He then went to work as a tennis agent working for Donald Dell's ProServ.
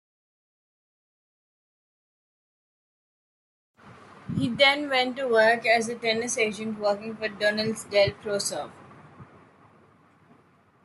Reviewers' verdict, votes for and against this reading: rejected, 0, 2